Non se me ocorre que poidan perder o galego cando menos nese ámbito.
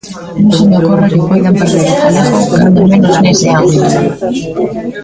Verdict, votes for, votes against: rejected, 1, 2